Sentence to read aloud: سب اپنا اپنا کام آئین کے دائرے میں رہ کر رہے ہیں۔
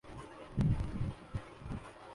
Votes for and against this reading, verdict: 0, 3, rejected